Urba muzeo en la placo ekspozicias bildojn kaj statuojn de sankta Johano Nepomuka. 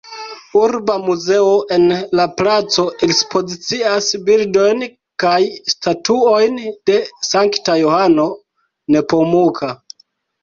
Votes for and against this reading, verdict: 1, 3, rejected